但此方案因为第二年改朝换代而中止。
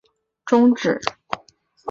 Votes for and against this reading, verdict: 0, 3, rejected